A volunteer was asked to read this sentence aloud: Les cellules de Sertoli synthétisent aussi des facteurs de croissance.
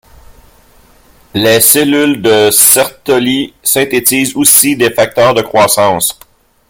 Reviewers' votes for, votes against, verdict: 0, 2, rejected